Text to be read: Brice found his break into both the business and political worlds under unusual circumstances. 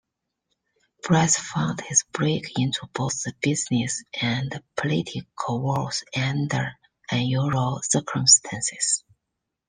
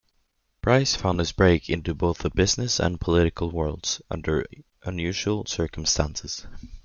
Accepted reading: second